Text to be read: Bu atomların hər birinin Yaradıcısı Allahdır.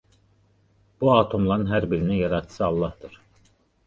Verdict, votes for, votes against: accepted, 2, 0